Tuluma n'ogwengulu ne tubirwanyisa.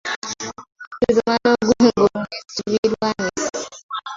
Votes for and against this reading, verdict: 0, 2, rejected